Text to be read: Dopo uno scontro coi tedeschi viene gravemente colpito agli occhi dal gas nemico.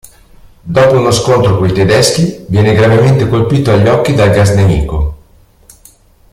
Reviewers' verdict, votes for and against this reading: accepted, 2, 0